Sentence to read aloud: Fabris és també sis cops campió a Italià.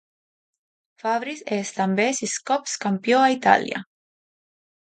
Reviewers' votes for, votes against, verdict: 2, 0, accepted